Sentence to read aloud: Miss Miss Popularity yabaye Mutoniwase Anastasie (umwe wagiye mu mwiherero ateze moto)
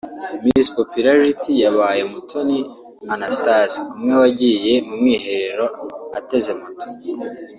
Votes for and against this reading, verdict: 2, 1, accepted